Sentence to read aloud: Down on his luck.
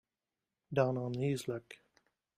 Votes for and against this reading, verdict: 1, 2, rejected